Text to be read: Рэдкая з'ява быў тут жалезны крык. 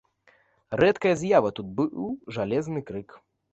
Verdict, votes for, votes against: rejected, 0, 3